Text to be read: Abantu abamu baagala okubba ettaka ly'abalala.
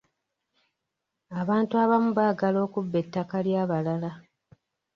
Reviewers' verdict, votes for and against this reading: accepted, 2, 0